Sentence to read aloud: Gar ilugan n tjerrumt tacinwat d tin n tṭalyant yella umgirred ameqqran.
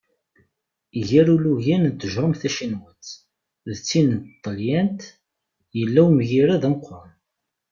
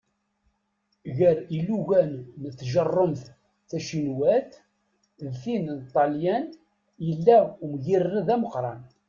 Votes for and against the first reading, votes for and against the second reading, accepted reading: 2, 0, 1, 2, first